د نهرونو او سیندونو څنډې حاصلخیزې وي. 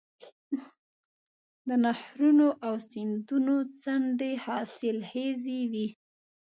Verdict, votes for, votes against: rejected, 1, 2